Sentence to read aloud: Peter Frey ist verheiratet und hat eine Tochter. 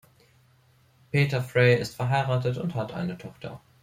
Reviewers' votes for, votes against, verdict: 3, 0, accepted